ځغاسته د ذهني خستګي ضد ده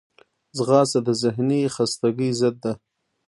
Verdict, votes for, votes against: rejected, 0, 2